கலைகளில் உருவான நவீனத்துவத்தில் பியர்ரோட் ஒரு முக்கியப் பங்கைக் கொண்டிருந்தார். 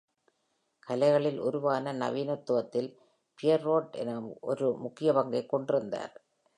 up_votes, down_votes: 1, 2